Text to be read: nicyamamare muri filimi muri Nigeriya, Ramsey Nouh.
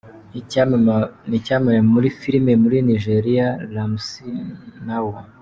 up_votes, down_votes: 0, 2